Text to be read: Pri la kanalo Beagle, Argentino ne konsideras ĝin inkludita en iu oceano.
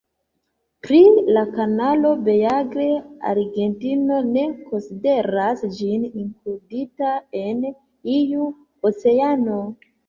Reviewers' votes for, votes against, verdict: 1, 2, rejected